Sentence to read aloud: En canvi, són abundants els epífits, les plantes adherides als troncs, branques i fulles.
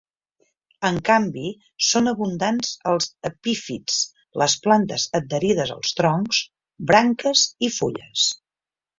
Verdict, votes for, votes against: accepted, 3, 0